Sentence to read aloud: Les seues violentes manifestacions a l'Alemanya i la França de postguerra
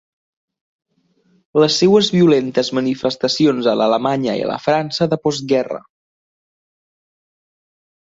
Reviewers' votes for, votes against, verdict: 5, 0, accepted